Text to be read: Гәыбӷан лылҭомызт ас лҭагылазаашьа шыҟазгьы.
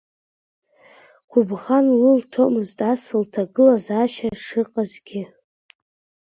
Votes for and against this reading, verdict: 2, 1, accepted